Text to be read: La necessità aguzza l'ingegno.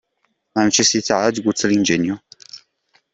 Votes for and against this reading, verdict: 1, 2, rejected